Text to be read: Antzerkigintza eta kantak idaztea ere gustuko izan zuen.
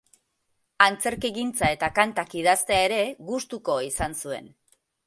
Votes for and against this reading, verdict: 6, 0, accepted